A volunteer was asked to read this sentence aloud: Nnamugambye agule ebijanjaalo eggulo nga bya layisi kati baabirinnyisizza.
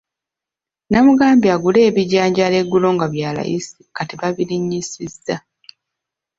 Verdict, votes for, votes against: accepted, 2, 1